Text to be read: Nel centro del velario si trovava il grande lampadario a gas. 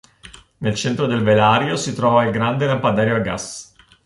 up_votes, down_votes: 1, 2